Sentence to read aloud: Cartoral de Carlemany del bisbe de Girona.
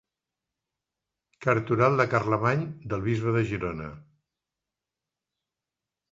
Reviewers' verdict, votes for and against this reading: accepted, 2, 0